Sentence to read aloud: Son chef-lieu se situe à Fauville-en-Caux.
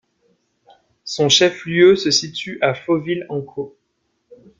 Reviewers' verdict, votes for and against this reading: accepted, 2, 1